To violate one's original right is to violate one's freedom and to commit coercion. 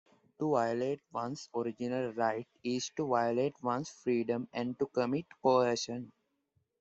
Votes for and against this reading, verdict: 2, 0, accepted